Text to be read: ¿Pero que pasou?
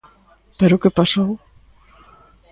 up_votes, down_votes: 2, 0